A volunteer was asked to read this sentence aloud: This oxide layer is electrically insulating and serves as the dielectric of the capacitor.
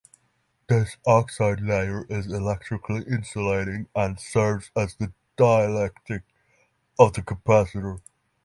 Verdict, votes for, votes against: rejected, 3, 3